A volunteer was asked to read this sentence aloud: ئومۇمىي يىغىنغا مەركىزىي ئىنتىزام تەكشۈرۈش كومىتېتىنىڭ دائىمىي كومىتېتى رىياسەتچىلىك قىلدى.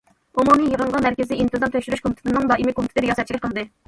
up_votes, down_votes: 1, 2